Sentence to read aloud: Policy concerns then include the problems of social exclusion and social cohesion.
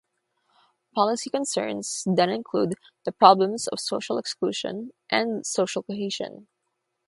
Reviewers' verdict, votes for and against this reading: accepted, 6, 0